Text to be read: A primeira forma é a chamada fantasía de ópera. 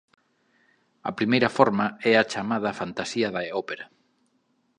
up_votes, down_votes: 1, 2